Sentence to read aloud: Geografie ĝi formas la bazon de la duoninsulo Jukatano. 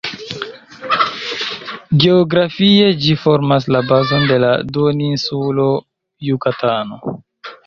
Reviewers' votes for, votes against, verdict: 2, 1, accepted